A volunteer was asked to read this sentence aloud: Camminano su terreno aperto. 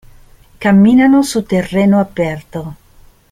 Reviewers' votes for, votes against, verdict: 2, 0, accepted